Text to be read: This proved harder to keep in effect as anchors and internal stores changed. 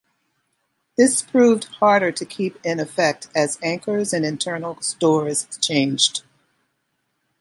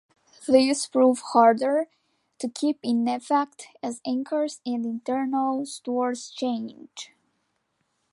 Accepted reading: first